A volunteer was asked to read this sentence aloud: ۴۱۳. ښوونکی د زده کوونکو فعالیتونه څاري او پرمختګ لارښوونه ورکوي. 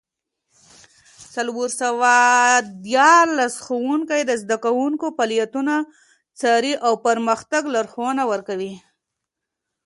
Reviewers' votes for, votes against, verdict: 0, 2, rejected